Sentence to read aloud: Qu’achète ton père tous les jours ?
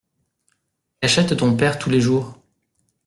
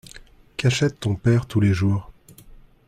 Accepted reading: second